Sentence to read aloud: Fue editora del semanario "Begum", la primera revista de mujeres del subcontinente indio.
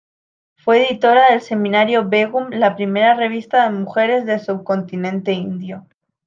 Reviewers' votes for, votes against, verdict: 2, 1, accepted